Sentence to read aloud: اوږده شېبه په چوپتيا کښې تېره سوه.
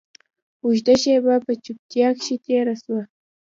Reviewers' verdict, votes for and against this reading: rejected, 0, 2